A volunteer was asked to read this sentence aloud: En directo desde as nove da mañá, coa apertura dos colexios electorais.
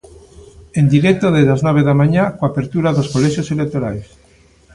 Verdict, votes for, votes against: accepted, 2, 0